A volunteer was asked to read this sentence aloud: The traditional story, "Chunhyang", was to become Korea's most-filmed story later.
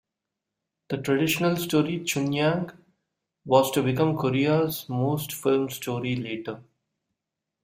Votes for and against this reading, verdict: 2, 0, accepted